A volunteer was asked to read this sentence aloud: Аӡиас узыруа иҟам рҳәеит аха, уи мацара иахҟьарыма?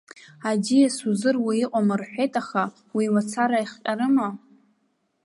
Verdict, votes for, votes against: accepted, 2, 0